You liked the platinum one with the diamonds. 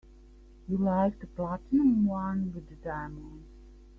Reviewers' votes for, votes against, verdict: 1, 2, rejected